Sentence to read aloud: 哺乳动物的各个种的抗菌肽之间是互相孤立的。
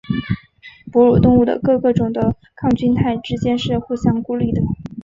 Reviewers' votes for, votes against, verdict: 4, 1, accepted